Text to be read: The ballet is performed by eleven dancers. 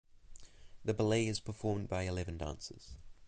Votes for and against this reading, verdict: 1, 2, rejected